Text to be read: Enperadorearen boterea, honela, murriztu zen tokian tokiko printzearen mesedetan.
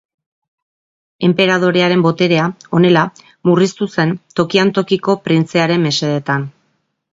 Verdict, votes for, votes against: rejected, 1, 2